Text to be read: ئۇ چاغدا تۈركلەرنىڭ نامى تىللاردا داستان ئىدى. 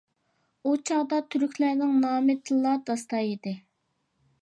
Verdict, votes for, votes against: accepted, 2, 1